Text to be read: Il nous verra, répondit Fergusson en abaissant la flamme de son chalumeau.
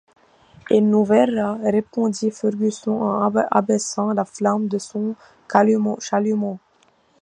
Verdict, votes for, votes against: rejected, 1, 2